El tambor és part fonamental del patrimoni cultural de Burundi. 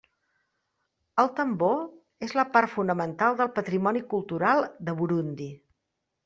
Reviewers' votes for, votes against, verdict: 0, 2, rejected